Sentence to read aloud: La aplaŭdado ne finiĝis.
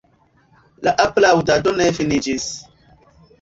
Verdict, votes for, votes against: accepted, 2, 1